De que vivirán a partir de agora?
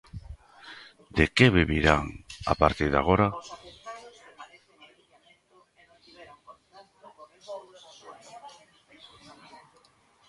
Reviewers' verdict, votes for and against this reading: rejected, 0, 2